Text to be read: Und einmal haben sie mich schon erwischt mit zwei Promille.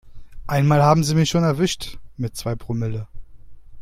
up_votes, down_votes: 0, 2